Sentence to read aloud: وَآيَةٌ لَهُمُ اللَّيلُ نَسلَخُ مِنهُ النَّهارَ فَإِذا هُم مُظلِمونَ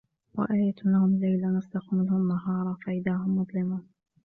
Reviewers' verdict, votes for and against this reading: rejected, 1, 2